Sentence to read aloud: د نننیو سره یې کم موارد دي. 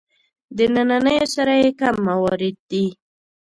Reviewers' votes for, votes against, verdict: 2, 0, accepted